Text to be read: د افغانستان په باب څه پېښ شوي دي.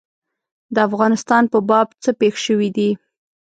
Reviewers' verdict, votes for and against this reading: accepted, 2, 0